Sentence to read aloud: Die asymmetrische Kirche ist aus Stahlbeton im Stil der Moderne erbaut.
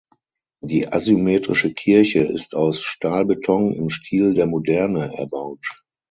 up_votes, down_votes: 6, 0